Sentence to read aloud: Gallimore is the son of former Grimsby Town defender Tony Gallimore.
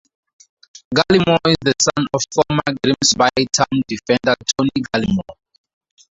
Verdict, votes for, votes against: rejected, 0, 2